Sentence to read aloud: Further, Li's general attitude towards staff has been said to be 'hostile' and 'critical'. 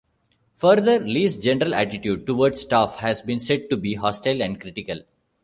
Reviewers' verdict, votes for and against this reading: accepted, 2, 0